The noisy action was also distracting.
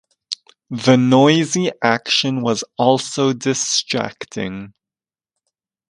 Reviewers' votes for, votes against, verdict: 2, 0, accepted